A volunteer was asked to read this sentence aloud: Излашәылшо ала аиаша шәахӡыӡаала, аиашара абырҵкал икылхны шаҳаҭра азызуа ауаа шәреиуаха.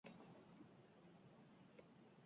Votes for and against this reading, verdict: 0, 2, rejected